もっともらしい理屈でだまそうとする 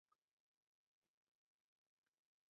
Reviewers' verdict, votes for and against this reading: rejected, 0, 2